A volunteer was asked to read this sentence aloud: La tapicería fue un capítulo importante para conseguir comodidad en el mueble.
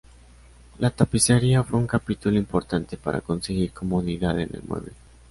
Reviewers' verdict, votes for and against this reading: accepted, 2, 0